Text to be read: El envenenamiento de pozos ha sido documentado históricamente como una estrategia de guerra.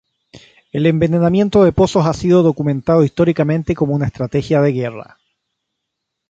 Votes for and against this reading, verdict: 3, 0, accepted